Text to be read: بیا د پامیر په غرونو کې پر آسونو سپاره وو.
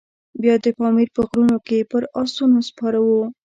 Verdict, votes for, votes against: rejected, 1, 2